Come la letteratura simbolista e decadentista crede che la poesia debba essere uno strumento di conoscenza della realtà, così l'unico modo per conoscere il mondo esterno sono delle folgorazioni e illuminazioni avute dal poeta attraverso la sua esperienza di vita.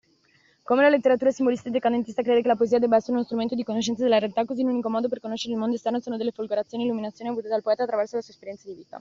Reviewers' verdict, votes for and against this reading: rejected, 1, 2